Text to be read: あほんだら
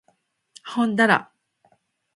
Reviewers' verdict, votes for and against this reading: rejected, 1, 2